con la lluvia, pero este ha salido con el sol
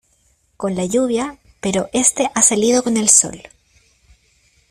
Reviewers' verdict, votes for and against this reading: accepted, 2, 0